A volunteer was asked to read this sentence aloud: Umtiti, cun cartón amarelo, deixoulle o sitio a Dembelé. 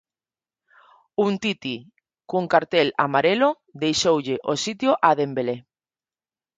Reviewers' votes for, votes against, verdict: 0, 4, rejected